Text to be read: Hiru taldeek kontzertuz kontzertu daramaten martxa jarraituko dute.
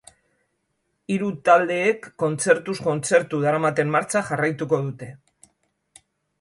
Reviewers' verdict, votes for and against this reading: accepted, 3, 1